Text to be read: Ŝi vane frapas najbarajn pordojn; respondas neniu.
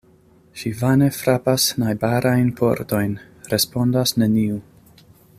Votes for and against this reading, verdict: 2, 0, accepted